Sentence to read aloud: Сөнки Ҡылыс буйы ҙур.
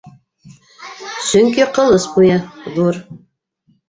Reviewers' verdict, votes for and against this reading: rejected, 0, 2